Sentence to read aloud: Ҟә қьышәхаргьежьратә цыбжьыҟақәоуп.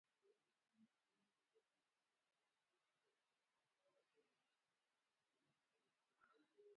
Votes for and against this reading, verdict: 0, 2, rejected